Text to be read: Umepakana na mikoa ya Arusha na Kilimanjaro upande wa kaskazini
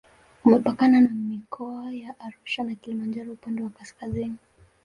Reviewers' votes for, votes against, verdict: 1, 2, rejected